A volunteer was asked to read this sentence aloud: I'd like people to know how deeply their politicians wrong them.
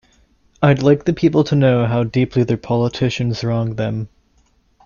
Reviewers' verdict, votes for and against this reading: rejected, 0, 2